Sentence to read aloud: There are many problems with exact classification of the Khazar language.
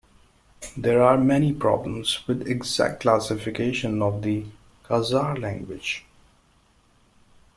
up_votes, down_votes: 2, 1